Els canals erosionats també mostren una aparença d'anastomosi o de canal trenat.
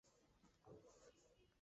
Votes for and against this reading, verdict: 0, 2, rejected